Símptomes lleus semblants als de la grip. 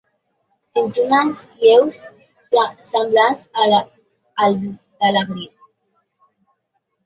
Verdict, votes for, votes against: rejected, 0, 2